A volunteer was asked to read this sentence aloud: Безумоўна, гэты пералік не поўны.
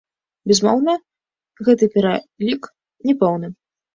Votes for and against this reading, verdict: 1, 2, rejected